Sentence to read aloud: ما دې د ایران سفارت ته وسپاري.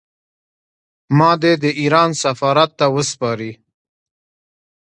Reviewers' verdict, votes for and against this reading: accepted, 2, 0